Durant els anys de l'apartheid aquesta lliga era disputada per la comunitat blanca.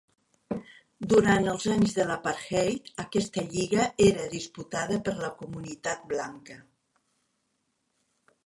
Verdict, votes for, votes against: rejected, 1, 2